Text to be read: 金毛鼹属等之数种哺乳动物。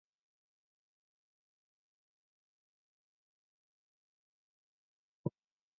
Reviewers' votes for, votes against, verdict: 0, 5, rejected